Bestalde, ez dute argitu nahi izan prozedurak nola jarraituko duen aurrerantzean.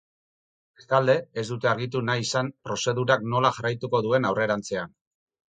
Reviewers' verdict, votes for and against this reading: rejected, 2, 2